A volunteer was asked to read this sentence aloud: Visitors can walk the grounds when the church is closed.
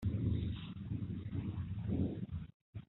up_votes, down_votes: 0, 2